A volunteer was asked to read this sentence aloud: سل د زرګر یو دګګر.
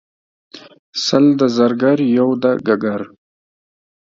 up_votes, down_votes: 2, 0